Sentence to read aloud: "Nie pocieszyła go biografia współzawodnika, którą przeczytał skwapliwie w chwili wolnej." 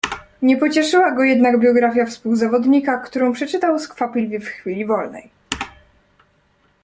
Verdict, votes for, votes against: accepted, 2, 1